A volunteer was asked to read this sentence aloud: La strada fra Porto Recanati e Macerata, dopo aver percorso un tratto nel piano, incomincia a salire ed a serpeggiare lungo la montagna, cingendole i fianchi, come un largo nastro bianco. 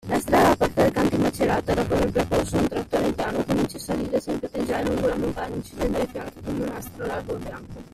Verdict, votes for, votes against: rejected, 0, 2